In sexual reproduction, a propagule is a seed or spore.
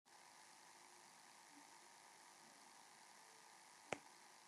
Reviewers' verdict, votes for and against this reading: rejected, 0, 2